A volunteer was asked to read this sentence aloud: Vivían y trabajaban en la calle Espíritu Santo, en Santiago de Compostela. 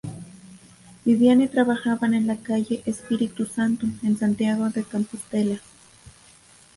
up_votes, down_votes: 2, 1